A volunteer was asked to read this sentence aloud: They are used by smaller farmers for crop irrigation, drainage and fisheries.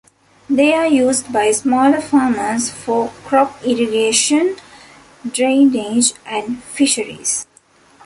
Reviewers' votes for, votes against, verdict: 2, 0, accepted